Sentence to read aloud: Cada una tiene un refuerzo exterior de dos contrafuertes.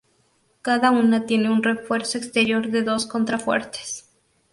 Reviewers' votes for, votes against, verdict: 2, 0, accepted